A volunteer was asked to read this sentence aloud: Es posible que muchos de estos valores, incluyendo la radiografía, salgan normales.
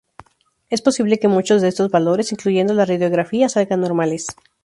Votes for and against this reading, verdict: 2, 0, accepted